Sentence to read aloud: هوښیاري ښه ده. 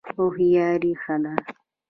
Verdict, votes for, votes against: accepted, 2, 0